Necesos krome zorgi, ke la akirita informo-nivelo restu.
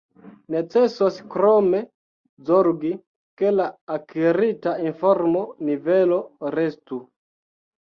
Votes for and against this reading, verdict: 0, 2, rejected